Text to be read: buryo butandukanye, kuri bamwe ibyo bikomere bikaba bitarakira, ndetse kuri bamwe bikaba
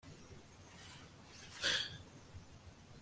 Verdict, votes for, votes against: rejected, 0, 2